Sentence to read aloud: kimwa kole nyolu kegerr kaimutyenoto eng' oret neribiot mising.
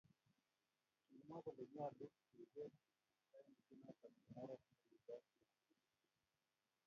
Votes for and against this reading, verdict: 0, 2, rejected